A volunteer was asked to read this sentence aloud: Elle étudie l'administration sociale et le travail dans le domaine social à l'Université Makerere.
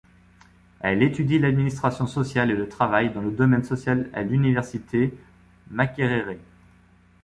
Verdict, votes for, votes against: accepted, 2, 0